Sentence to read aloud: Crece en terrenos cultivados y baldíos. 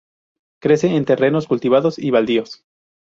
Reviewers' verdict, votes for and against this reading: rejected, 0, 2